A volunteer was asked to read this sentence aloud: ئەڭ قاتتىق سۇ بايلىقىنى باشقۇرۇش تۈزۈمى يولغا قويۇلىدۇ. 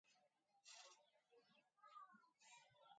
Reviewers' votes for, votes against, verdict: 0, 2, rejected